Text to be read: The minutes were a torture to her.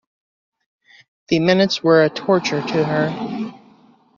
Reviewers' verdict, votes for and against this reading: accepted, 2, 0